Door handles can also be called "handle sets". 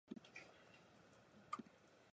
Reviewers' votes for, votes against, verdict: 0, 2, rejected